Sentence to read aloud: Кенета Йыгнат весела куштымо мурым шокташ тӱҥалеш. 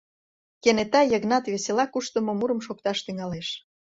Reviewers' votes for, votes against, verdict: 2, 0, accepted